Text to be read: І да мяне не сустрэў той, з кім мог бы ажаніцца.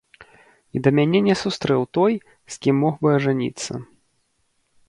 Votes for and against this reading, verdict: 2, 0, accepted